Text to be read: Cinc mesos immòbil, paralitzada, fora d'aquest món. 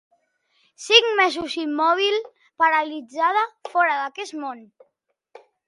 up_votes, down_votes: 2, 0